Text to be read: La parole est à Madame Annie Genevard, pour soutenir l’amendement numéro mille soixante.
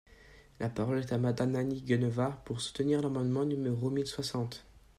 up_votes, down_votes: 1, 2